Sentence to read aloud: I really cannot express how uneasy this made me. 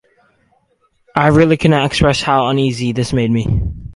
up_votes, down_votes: 4, 0